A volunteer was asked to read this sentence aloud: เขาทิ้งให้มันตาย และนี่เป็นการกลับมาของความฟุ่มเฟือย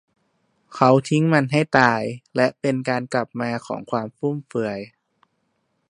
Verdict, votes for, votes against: rejected, 0, 2